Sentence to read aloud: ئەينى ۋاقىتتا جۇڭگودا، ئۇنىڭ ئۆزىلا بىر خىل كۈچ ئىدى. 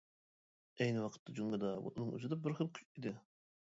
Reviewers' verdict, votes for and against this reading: rejected, 1, 2